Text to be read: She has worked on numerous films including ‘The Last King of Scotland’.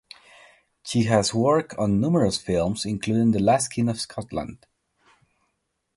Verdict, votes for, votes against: rejected, 0, 2